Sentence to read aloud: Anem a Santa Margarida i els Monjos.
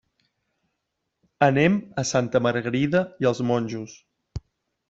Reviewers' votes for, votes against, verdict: 3, 0, accepted